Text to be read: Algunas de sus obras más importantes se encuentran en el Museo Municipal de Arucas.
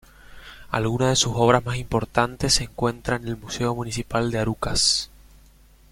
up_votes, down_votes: 2, 0